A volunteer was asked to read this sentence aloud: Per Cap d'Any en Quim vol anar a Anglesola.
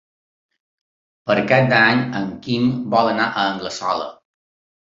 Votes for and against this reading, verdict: 3, 0, accepted